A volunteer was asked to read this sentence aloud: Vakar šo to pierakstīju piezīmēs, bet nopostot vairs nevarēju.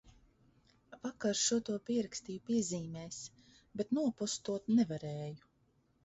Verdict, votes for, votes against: rejected, 1, 2